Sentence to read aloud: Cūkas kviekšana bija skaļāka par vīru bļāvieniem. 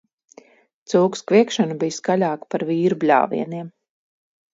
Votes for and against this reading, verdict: 4, 0, accepted